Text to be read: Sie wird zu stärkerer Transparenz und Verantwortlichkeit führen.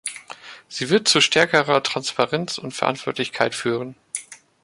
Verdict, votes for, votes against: accepted, 2, 0